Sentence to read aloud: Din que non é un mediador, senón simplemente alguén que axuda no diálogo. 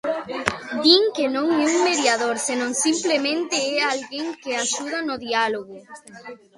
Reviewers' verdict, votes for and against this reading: rejected, 0, 2